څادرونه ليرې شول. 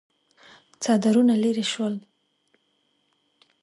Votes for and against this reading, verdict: 2, 1, accepted